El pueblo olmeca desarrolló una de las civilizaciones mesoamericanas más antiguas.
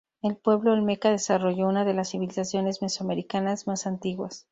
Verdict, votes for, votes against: accepted, 4, 0